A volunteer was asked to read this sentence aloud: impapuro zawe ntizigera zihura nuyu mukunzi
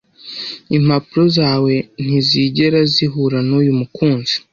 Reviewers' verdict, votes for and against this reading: accepted, 2, 0